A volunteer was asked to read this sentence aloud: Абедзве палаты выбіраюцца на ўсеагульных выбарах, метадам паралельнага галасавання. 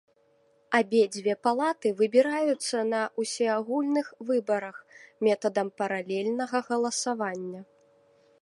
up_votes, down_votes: 2, 0